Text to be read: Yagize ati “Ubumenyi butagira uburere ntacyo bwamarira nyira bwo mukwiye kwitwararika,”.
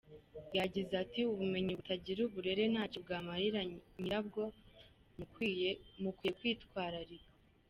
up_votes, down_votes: 1, 2